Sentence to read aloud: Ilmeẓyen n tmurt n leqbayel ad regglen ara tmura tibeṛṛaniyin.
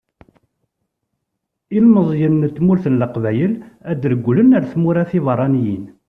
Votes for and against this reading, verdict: 2, 0, accepted